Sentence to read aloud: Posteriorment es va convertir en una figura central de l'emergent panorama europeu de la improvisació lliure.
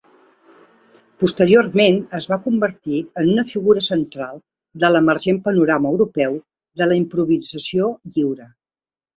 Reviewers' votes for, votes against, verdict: 2, 1, accepted